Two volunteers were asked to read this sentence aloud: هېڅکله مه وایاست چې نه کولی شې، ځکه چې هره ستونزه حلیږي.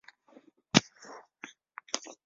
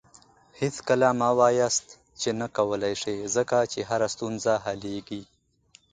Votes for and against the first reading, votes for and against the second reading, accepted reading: 0, 2, 2, 0, second